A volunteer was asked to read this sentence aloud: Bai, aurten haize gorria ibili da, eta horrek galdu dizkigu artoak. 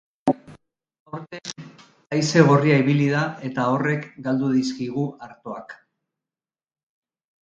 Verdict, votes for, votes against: rejected, 1, 2